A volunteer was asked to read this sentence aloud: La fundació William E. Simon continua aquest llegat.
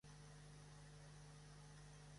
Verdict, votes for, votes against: rejected, 1, 2